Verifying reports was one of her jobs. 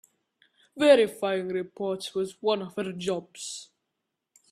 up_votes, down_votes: 2, 0